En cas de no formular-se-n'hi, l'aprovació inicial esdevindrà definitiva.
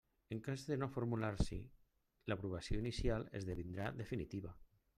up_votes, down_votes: 0, 2